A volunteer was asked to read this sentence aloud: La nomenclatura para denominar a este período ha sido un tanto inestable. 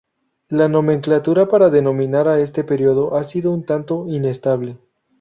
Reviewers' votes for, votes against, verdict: 2, 0, accepted